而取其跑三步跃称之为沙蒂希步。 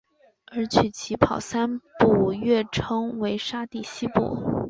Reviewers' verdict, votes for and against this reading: rejected, 1, 2